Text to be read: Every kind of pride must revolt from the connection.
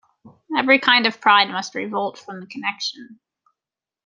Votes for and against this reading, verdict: 2, 0, accepted